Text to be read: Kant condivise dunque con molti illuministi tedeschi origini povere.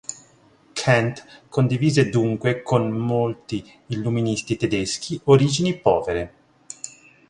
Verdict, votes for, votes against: rejected, 1, 2